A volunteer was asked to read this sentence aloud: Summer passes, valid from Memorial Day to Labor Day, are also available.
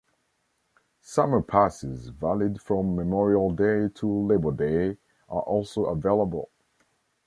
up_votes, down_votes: 0, 2